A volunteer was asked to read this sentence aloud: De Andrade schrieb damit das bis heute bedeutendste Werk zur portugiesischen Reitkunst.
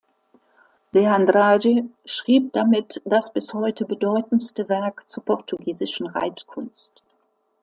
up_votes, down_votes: 2, 0